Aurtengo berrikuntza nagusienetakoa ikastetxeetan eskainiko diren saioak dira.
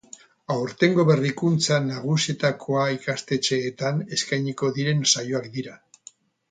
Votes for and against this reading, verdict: 0, 2, rejected